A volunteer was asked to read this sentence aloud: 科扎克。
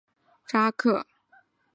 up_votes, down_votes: 1, 3